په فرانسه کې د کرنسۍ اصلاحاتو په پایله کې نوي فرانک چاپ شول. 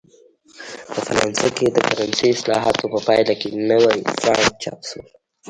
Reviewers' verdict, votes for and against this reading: rejected, 0, 2